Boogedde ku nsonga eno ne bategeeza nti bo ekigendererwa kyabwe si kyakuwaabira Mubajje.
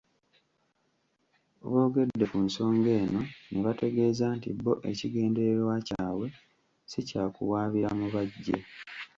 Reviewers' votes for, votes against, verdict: 1, 2, rejected